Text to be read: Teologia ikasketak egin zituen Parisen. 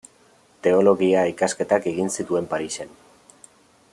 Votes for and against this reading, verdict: 2, 0, accepted